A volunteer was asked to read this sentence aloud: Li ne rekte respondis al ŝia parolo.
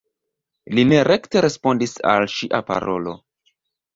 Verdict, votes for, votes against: accepted, 2, 0